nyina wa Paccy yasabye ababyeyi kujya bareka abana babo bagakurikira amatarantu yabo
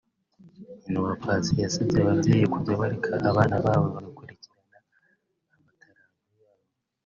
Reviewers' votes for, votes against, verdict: 1, 3, rejected